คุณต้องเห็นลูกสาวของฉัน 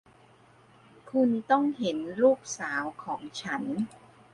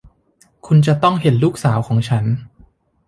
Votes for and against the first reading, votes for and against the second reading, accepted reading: 2, 0, 1, 2, first